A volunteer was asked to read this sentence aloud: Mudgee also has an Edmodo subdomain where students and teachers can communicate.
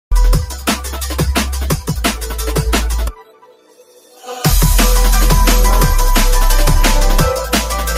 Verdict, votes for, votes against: rejected, 0, 2